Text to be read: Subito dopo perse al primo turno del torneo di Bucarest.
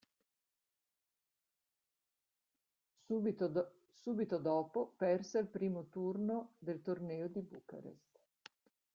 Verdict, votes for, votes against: rejected, 0, 2